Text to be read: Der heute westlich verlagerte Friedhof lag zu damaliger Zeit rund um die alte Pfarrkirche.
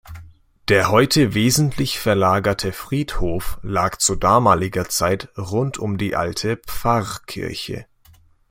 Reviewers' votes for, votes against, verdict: 1, 2, rejected